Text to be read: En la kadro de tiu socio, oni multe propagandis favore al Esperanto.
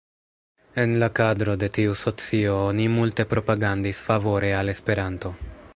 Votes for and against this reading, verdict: 1, 2, rejected